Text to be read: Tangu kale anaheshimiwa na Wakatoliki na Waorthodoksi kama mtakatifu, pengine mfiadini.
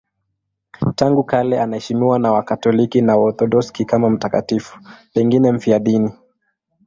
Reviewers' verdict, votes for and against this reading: accepted, 2, 0